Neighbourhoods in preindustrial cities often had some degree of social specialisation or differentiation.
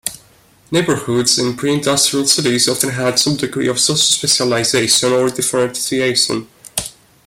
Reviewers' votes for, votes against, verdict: 2, 0, accepted